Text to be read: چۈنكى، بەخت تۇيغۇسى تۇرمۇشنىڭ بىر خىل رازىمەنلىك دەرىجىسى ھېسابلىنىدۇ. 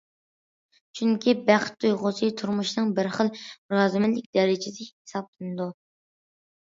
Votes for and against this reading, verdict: 2, 0, accepted